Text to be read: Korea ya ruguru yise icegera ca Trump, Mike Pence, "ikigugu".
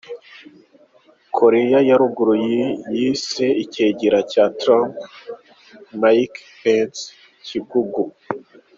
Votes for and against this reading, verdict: 0, 2, rejected